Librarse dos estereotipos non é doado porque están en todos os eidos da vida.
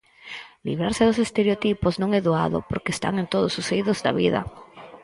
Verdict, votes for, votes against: rejected, 2, 2